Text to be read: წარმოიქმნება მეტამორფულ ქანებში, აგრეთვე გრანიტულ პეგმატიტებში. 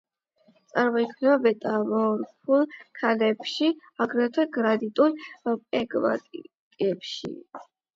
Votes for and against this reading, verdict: 0, 8, rejected